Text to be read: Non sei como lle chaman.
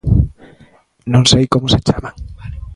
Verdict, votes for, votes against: rejected, 0, 2